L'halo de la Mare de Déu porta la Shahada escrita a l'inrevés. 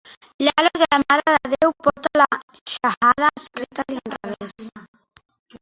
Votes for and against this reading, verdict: 1, 2, rejected